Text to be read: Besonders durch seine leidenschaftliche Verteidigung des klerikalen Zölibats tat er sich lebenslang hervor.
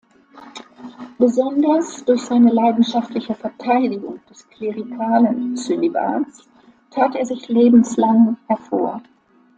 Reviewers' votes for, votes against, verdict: 1, 2, rejected